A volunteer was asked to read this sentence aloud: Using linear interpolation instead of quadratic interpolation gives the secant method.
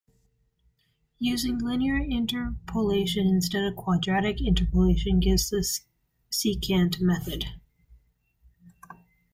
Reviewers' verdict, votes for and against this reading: rejected, 0, 2